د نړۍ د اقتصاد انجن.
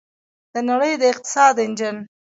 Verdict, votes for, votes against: rejected, 0, 2